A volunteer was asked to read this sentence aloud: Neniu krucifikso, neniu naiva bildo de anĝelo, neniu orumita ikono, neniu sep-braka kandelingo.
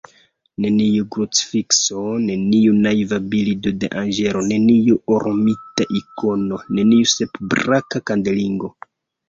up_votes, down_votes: 1, 2